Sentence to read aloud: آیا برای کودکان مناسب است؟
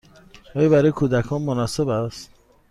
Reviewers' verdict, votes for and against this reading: accepted, 2, 0